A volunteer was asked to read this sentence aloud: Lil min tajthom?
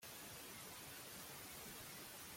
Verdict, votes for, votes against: rejected, 0, 2